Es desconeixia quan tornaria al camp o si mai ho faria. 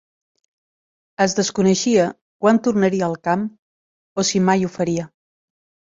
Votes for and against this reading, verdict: 2, 0, accepted